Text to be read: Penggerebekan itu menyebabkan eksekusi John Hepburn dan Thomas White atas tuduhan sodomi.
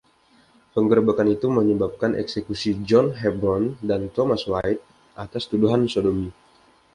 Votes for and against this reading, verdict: 2, 0, accepted